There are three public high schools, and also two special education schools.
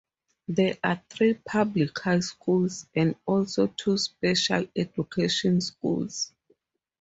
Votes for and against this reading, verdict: 4, 0, accepted